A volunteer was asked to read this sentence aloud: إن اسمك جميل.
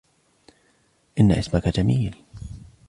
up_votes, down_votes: 2, 0